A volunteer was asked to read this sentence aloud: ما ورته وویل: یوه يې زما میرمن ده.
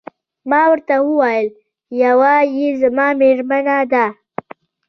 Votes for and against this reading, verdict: 2, 0, accepted